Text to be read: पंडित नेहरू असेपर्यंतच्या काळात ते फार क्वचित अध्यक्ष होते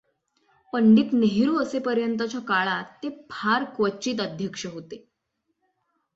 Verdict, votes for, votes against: accepted, 6, 0